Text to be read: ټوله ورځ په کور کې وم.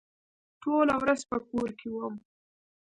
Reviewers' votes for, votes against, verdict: 2, 1, accepted